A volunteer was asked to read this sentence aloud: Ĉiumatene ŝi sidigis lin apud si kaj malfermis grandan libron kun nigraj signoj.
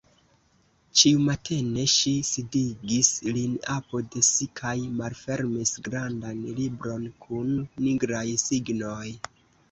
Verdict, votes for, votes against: accepted, 2, 0